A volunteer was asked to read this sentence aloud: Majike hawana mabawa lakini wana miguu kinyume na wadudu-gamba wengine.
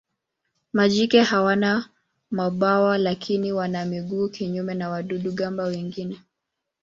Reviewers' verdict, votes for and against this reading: accepted, 2, 0